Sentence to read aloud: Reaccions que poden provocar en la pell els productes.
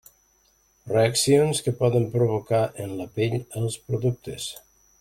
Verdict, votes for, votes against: accepted, 3, 0